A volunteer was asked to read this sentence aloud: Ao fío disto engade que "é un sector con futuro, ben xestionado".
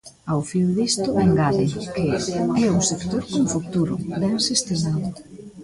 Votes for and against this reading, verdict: 2, 3, rejected